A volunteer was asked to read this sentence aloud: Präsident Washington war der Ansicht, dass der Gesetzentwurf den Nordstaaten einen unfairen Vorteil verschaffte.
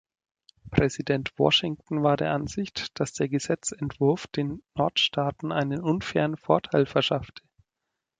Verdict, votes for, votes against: rejected, 2, 4